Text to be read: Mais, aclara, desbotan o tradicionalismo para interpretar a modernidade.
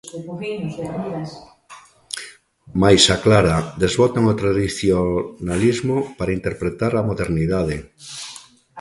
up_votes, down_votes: 0, 3